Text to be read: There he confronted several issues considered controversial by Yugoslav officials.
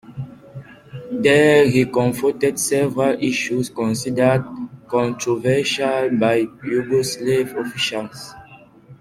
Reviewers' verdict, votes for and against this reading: accepted, 2, 1